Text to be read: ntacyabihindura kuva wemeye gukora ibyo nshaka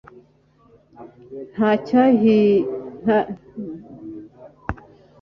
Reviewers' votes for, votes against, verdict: 1, 2, rejected